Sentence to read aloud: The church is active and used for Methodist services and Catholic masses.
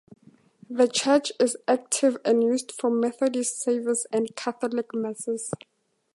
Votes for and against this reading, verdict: 4, 0, accepted